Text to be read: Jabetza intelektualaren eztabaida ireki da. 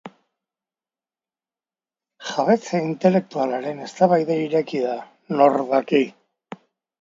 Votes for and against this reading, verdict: 0, 2, rejected